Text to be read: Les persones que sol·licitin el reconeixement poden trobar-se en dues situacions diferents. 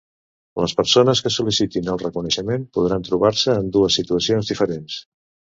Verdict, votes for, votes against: rejected, 0, 2